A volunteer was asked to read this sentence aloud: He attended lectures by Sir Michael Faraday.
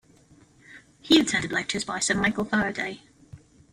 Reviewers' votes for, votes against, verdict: 2, 1, accepted